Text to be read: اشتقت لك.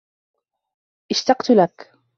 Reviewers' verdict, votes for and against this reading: accepted, 2, 0